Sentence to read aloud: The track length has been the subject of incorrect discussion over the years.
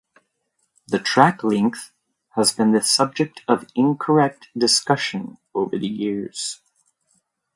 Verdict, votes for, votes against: accepted, 2, 1